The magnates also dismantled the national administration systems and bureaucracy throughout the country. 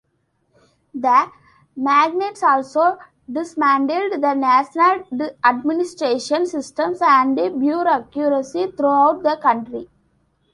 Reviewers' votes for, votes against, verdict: 0, 2, rejected